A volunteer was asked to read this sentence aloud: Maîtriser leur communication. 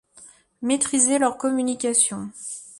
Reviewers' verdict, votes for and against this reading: accepted, 2, 0